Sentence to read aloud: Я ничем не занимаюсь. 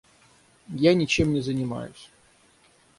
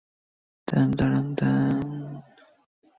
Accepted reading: first